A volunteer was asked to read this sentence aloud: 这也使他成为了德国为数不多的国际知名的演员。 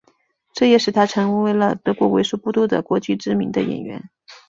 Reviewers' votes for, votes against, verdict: 3, 1, accepted